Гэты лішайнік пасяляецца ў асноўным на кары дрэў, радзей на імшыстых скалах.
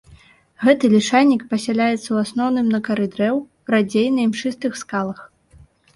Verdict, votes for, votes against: accepted, 2, 0